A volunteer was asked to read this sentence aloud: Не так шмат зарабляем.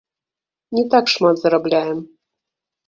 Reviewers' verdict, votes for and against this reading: rejected, 0, 2